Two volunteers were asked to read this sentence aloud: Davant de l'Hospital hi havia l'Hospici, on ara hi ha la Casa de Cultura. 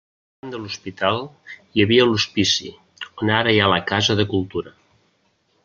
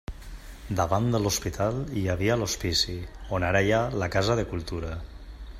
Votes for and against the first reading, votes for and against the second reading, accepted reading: 0, 2, 3, 0, second